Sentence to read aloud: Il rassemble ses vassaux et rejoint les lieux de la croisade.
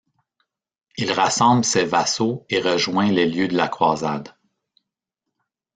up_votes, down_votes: 1, 2